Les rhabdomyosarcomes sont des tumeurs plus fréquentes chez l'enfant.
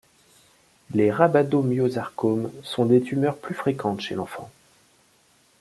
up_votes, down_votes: 1, 2